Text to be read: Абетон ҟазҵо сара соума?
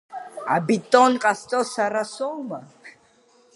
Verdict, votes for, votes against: accepted, 2, 0